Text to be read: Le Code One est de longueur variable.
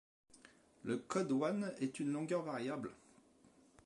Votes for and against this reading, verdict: 0, 2, rejected